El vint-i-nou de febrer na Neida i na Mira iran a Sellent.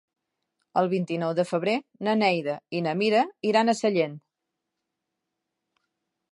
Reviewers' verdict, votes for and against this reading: accepted, 2, 0